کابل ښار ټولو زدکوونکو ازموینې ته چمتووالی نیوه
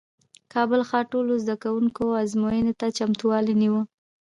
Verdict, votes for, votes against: rejected, 1, 2